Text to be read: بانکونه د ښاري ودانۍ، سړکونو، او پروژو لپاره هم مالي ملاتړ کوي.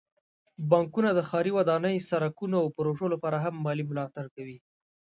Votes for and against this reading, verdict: 2, 0, accepted